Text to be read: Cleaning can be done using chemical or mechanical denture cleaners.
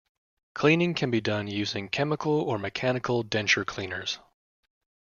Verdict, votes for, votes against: accepted, 2, 1